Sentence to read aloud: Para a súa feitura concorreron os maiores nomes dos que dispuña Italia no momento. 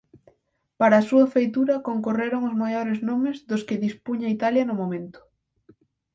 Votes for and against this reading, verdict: 4, 0, accepted